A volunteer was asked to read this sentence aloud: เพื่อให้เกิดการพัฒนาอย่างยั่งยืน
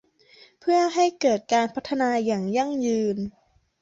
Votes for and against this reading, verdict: 2, 0, accepted